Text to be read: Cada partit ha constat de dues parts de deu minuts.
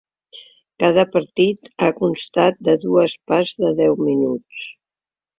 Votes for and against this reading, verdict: 4, 0, accepted